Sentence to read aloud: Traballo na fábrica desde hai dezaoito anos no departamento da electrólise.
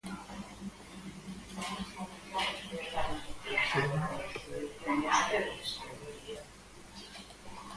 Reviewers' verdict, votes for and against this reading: rejected, 0, 4